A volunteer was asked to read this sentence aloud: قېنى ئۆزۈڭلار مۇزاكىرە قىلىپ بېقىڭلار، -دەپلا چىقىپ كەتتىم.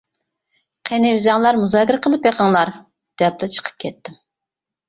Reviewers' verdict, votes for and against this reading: accepted, 3, 0